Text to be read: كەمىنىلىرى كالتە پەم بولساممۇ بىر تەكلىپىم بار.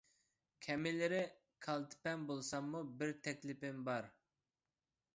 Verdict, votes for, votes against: accepted, 2, 0